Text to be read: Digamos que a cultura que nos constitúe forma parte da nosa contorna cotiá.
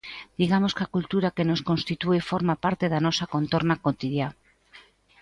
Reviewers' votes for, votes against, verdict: 1, 2, rejected